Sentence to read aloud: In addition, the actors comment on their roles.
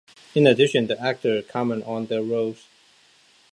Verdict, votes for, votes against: rejected, 0, 2